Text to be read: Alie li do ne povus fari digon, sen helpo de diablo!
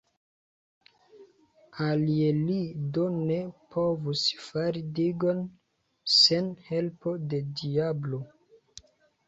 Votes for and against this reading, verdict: 2, 0, accepted